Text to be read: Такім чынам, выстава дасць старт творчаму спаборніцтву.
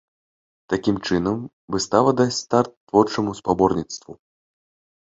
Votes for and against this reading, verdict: 2, 0, accepted